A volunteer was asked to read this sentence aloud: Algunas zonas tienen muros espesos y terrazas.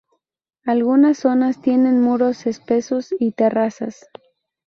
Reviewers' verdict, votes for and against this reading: accepted, 2, 0